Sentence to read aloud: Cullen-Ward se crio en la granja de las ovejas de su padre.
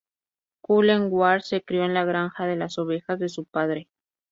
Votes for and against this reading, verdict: 4, 0, accepted